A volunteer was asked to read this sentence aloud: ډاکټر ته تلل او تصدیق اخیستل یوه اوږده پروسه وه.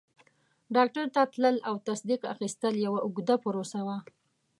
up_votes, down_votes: 2, 0